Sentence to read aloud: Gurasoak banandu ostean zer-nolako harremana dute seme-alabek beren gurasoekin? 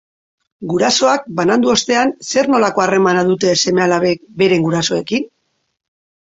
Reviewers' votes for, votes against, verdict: 3, 0, accepted